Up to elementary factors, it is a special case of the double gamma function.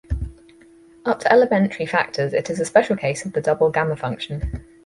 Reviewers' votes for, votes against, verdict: 4, 0, accepted